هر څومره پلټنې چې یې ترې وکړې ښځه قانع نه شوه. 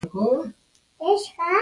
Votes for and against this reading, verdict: 0, 2, rejected